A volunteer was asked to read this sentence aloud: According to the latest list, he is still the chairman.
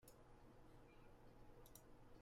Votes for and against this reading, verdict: 0, 2, rejected